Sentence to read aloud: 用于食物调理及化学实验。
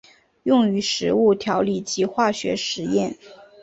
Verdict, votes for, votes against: accepted, 3, 0